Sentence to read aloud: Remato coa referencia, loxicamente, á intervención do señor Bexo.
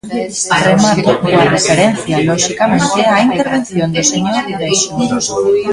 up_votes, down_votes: 0, 2